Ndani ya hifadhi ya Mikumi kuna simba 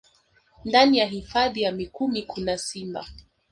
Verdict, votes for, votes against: rejected, 0, 2